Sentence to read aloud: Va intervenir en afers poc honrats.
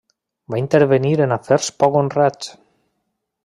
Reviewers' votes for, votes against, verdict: 3, 0, accepted